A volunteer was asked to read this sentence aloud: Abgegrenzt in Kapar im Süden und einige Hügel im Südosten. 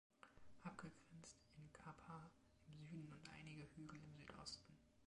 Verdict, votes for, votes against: rejected, 1, 2